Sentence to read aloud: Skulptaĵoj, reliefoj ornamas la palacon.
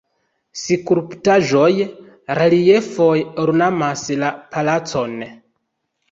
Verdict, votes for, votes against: rejected, 3, 4